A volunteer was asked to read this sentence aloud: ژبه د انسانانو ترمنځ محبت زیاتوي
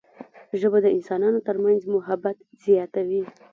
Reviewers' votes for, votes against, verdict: 2, 0, accepted